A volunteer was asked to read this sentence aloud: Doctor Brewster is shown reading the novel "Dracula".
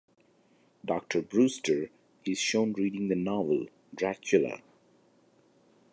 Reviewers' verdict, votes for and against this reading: accepted, 2, 0